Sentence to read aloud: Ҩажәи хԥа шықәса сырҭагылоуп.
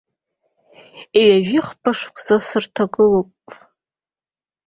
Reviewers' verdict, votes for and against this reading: accepted, 2, 0